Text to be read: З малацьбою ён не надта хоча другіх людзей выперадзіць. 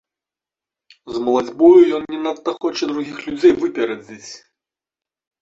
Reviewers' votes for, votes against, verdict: 2, 1, accepted